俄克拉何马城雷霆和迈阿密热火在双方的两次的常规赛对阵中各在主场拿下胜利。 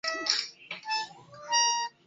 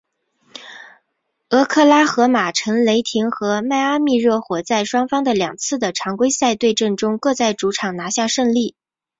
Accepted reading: second